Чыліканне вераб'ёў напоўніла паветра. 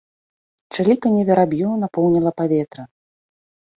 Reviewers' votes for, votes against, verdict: 2, 0, accepted